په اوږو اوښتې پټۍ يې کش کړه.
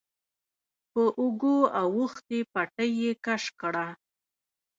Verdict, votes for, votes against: rejected, 1, 2